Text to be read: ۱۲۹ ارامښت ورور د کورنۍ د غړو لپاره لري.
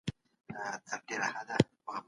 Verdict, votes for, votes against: rejected, 0, 2